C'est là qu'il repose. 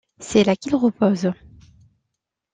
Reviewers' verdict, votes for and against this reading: accepted, 2, 0